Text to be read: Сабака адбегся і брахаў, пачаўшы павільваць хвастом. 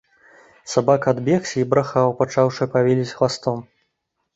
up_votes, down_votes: 1, 2